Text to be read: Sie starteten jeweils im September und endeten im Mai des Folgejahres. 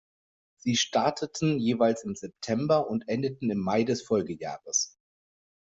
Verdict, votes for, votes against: accepted, 2, 0